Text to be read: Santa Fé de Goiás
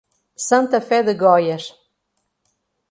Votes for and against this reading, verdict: 0, 2, rejected